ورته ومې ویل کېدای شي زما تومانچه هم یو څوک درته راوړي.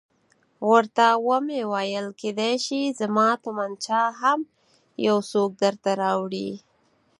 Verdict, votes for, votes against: accepted, 4, 0